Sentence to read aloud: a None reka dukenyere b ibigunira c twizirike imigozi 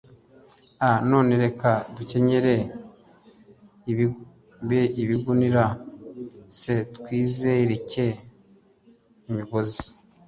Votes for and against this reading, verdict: 1, 2, rejected